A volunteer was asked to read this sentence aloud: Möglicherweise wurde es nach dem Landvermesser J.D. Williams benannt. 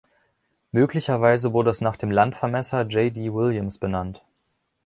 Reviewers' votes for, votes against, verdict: 2, 0, accepted